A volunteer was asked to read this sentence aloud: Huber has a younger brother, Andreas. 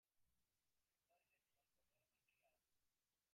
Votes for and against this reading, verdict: 0, 2, rejected